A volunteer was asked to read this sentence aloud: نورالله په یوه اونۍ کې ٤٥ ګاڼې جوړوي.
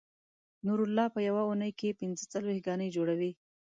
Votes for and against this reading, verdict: 0, 2, rejected